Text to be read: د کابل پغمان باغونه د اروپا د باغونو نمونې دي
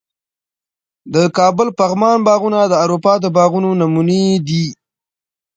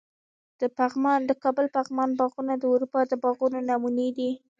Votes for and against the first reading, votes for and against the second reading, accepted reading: 2, 0, 1, 2, first